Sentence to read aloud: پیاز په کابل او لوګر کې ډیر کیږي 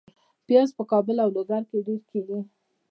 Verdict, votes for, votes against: accepted, 2, 1